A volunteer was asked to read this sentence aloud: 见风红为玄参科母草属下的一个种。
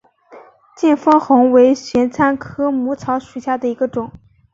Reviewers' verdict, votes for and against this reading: accepted, 3, 0